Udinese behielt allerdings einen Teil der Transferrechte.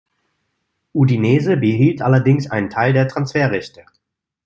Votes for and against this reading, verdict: 2, 0, accepted